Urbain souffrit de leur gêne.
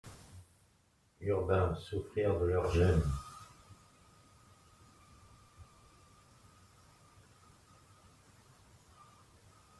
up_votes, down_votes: 0, 2